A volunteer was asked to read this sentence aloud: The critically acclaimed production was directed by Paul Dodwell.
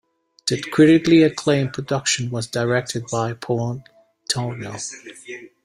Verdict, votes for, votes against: rejected, 0, 2